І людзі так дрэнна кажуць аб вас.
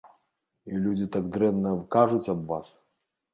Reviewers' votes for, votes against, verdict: 3, 0, accepted